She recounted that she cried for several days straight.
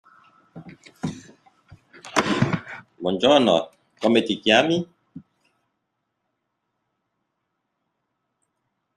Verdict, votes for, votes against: rejected, 0, 2